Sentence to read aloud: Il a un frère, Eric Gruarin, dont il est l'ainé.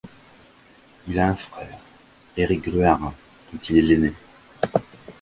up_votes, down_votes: 1, 2